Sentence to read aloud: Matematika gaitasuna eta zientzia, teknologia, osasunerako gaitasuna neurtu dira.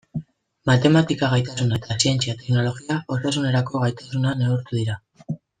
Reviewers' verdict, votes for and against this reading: rejected, 1, 2